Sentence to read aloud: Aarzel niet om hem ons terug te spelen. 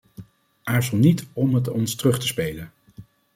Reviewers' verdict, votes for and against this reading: rejected, 1, 2